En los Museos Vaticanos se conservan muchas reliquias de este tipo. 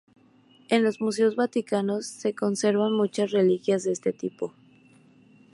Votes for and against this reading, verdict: 2, 0, accepted